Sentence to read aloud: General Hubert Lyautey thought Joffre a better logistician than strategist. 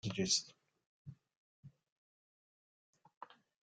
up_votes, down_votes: 1, 2